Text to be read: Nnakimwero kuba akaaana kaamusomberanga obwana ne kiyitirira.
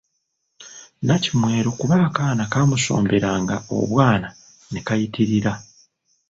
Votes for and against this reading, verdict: 0, 2, rejected